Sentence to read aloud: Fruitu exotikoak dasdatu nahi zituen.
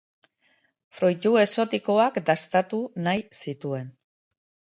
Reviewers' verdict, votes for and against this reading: rejected, 0, 2